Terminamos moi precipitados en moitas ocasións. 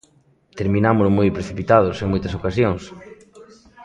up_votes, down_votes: 0, 2